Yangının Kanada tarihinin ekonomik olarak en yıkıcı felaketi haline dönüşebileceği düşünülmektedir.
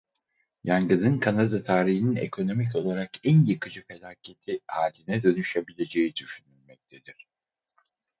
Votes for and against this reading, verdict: 0, 4, rejected